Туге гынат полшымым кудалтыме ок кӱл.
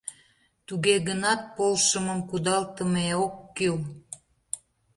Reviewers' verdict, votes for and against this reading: accepted, 2, 0